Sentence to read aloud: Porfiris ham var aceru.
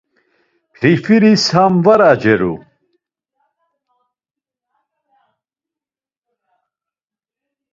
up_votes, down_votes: 2, 0